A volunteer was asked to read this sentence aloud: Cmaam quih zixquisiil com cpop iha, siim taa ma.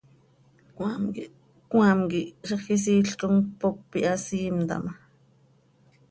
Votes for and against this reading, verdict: 1, 2, rejected